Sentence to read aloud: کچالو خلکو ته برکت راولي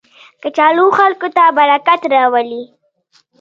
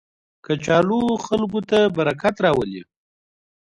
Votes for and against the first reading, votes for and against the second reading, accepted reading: 1, 2, 2, 0, second